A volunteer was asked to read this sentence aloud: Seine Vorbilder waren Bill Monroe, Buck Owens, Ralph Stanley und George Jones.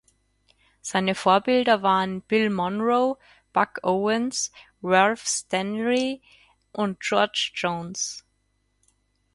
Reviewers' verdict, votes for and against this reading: rejected, 2, 4